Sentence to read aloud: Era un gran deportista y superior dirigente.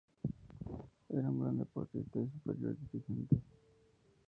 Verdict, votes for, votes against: rejected, 0, 4